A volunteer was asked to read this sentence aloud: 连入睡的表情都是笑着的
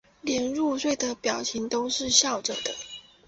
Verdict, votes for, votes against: accepted, 2, 1